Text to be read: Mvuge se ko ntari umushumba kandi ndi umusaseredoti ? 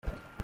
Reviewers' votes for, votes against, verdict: 0, 2, rejected